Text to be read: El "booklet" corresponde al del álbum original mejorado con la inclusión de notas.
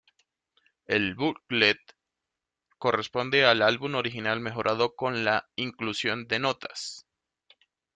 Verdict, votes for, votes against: rejected, 1, 2